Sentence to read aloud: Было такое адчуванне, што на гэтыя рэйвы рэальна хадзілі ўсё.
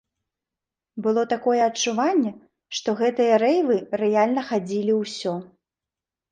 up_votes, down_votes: 1, 2